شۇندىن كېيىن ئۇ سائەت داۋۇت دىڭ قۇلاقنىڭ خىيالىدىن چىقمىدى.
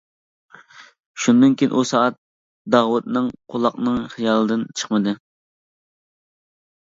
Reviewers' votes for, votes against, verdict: 0, 2, rejected